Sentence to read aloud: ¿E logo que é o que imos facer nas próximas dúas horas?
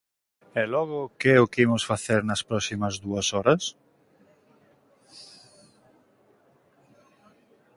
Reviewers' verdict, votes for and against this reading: accepted, 2, 0